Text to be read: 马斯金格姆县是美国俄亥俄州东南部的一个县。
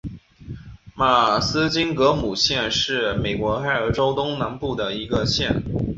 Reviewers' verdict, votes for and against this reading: rejected, 0, 3